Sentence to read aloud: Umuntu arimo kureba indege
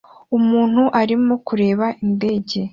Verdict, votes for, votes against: accepted, 2, 0